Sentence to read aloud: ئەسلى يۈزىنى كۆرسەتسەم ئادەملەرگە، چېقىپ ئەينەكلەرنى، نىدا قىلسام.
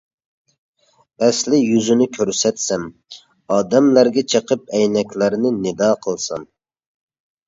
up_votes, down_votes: 2, 0